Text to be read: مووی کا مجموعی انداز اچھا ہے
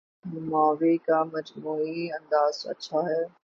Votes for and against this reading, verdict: 12, 0, accepted